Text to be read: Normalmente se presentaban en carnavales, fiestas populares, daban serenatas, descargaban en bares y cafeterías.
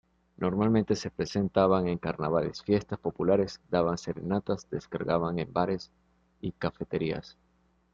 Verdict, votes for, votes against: accepted, 2, 0